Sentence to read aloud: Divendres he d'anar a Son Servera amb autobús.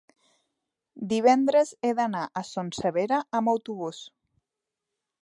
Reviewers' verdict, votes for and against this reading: rejected, 0, 2